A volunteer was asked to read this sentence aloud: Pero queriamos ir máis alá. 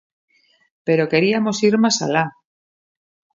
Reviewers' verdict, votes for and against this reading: rejected, 0, 2